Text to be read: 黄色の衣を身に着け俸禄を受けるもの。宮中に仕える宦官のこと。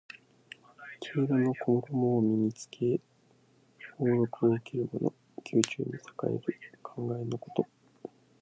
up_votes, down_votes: 1, 2